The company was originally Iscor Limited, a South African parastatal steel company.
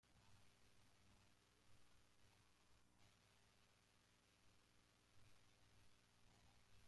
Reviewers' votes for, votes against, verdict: 0, 2, rejected